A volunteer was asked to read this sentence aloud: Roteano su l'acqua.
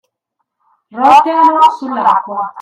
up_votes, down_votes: 0, 2